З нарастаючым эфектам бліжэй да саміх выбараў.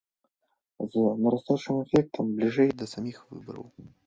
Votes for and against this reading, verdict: 1, 2, rejected